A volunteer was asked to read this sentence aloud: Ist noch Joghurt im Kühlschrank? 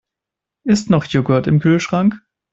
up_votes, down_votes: 2, 1